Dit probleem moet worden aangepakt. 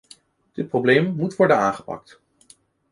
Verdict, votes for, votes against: accepted, 2, 0